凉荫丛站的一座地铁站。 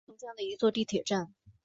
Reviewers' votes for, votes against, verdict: 1, 2, rejected